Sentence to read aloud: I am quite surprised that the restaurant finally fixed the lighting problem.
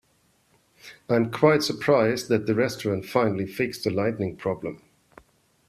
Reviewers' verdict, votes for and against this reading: rejected, 0, 2